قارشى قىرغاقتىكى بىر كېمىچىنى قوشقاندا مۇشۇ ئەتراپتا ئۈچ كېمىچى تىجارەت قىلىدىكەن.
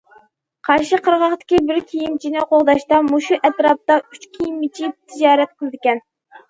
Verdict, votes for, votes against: rejected, 0, 2